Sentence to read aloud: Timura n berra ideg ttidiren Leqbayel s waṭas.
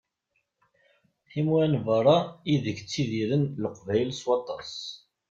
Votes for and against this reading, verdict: 2, 0, accepted